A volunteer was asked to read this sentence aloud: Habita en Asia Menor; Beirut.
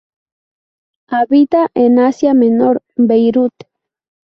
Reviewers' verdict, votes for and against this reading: accepted, 2, 0